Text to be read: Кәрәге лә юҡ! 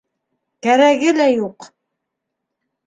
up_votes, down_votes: 2, 0